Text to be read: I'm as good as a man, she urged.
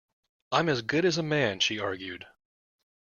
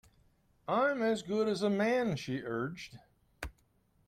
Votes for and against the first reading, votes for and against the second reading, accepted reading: 1, 2, 2, 0, second